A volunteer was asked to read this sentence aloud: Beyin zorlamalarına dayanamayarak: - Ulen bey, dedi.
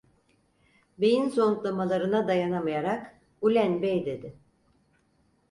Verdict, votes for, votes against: rejected, 2, 4